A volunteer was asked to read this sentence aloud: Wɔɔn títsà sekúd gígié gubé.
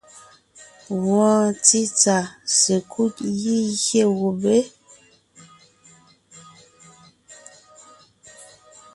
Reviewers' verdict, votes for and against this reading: rejected, 1, 2